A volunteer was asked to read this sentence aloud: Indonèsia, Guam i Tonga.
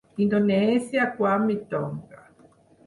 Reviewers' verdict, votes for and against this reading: accepted, 4, 0